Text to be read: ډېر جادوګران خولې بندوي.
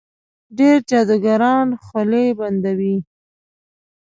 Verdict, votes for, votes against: accepted, 2, 1